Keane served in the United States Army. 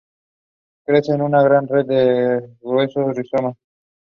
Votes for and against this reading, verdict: 0, 2, rejected